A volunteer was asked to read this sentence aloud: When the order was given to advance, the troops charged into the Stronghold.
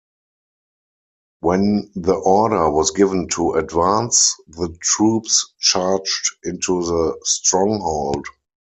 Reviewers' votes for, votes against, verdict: 4, 0, accepted